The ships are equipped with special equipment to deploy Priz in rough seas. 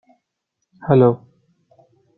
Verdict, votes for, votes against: rejected, 0, 2